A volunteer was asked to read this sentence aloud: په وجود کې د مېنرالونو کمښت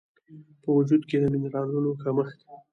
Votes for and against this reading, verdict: 2, 1, accepted